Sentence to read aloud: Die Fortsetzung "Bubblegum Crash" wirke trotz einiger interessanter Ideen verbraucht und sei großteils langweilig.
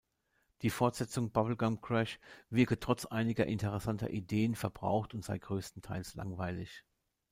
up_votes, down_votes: 1, 2